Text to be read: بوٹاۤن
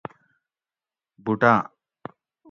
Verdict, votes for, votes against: accepted, 2, 0